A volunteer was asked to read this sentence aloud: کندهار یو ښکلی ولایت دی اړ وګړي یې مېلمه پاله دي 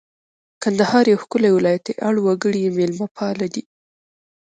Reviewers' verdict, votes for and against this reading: rejected, 0, 2